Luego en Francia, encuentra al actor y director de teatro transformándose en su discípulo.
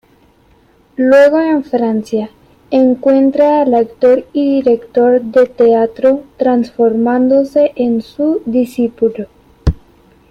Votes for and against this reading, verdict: 1, 2, rejected